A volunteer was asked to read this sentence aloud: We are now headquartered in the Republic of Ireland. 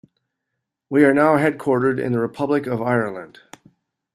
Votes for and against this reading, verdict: 2, 0, accepted